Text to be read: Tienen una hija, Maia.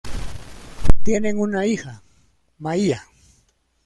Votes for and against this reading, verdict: 2, 1, accepted